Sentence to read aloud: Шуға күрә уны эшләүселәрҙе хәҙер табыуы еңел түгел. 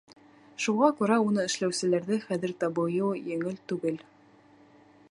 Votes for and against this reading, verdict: 2, 3, rejected